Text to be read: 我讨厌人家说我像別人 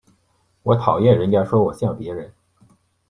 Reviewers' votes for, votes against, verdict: 2, 0, accepted